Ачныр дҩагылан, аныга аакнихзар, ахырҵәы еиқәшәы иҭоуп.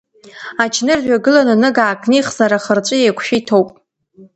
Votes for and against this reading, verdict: 1, 2, rejected